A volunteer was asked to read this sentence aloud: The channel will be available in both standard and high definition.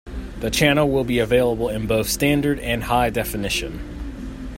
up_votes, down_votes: 2, 0